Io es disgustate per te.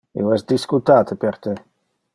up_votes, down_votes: 1, 2